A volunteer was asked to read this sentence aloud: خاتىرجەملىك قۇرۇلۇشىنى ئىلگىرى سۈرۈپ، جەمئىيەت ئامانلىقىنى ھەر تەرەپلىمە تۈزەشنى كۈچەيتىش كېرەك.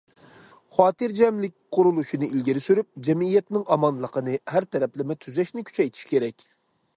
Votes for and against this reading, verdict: 0, 2, rejected